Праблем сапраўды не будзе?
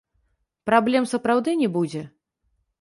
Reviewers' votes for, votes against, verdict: 0, 2, rejected